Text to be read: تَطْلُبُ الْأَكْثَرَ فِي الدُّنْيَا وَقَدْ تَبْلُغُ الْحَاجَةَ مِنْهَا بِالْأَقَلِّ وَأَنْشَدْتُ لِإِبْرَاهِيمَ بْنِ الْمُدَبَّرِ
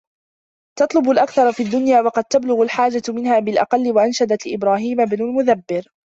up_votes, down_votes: 0, 2